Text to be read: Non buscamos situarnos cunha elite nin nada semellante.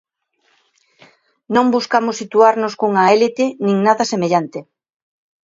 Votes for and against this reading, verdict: 0, 2, rejected